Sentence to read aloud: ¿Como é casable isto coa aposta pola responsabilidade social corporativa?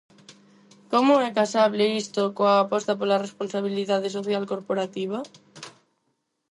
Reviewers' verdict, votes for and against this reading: accepted, 4, 0